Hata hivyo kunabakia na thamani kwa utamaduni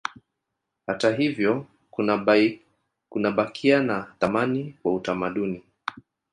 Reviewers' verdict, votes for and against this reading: accepted, 2, 0